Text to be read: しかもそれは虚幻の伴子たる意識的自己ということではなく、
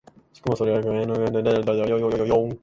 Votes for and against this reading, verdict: 1, 2, rejected